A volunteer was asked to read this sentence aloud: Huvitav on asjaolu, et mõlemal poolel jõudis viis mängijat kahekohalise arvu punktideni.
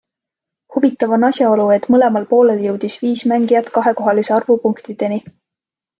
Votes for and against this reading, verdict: 2, 0, accepted